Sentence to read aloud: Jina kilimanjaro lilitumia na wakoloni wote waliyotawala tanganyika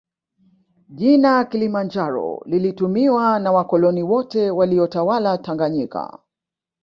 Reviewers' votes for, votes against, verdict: 1, 2, rejected